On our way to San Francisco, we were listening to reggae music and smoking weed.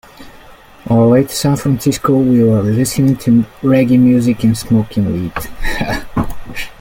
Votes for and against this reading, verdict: 2, 1, accepted